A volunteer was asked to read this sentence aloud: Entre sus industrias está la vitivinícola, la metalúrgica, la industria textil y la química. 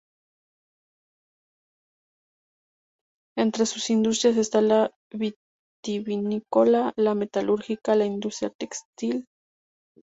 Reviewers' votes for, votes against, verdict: 0, 2, rejected